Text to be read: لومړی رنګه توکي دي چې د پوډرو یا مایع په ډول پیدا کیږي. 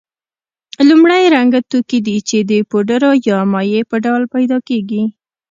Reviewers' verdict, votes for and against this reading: accepted, 2, 0